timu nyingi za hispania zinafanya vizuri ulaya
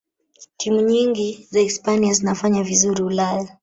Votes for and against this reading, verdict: 0, 2, rejected